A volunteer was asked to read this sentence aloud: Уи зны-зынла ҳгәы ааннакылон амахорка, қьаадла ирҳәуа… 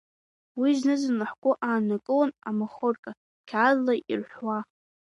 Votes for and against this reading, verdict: 2, 0, accepted